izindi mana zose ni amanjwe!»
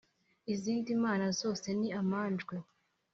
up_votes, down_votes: 2, 0